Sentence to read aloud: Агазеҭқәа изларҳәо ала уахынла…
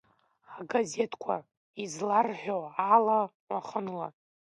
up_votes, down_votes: 2, 1